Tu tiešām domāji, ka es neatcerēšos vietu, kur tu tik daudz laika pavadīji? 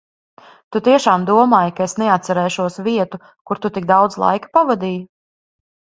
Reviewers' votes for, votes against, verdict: 2, 0, accepted